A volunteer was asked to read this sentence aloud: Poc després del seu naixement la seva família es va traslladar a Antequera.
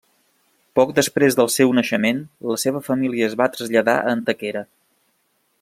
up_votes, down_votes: 2, 0